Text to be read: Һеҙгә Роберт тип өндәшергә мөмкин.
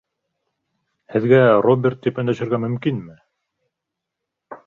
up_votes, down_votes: 1, 2